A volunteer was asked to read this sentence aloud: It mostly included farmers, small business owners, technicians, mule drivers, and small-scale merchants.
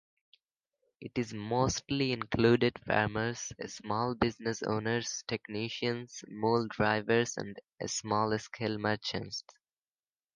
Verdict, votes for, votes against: rejected, 1, 2